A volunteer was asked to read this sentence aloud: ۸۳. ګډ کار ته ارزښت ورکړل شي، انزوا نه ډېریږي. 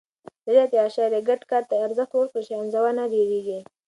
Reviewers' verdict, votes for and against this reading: rejected, 0, 2